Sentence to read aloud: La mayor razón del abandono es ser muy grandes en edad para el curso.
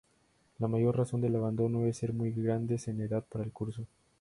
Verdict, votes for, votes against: accepted, 2, 0